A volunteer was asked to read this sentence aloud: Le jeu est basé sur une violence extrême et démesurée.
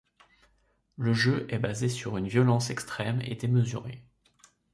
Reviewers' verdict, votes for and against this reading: accepted, 2, 0